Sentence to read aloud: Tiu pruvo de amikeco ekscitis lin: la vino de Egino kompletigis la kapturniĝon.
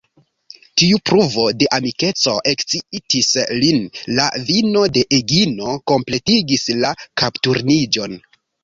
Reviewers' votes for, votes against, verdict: 2, 1, accepted